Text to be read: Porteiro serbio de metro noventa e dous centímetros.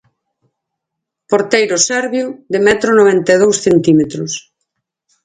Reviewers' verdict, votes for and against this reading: accepted, 4, 0